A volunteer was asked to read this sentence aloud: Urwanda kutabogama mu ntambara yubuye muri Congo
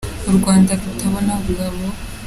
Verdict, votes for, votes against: rejected, 0, 3